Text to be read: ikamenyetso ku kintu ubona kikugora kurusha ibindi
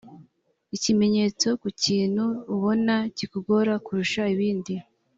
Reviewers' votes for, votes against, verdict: 2, 1, accepted